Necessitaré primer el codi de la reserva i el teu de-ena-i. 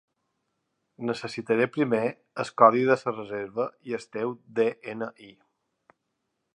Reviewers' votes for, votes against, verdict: 0, 2, rejected